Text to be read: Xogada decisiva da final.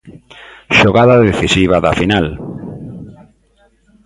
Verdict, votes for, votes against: accepted, 2, 0